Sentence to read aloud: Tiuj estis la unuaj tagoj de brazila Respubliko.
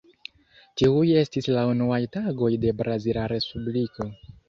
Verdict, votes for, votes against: accepted, 2, 0